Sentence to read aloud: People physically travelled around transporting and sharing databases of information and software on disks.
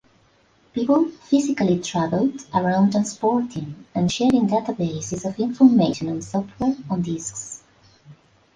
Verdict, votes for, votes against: rejected, 1, 2